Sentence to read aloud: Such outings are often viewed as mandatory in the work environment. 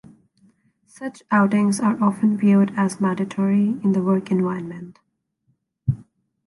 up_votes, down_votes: 2, 0